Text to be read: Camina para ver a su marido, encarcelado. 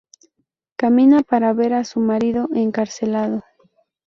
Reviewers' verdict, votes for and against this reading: accepted, 2, 0